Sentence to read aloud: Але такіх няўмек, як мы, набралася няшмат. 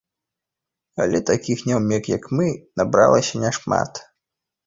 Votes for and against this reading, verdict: 2, 0, accepted